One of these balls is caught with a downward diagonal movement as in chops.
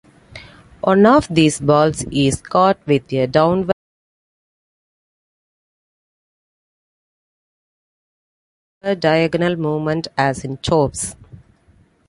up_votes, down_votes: 0, 2